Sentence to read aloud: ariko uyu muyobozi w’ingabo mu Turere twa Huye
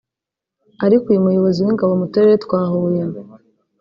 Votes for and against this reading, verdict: 2, 0, accepted